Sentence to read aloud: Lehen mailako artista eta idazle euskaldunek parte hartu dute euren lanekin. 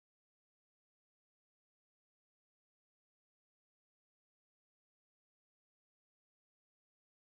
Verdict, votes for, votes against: rejected, 0, 2